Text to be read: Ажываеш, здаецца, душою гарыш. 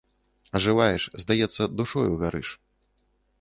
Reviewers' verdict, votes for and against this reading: accepted, 2, 0